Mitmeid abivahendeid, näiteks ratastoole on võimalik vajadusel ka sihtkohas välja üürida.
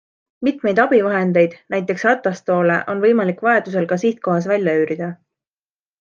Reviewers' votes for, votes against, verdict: 2, 0, accepted